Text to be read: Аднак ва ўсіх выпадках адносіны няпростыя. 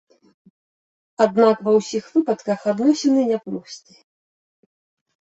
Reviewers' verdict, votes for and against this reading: rejected, 1, 2